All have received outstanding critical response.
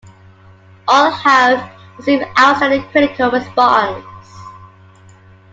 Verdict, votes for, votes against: rejected, 0, 2